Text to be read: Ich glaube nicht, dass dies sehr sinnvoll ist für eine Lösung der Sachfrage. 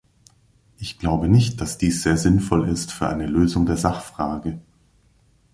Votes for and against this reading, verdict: 2, 0, accepted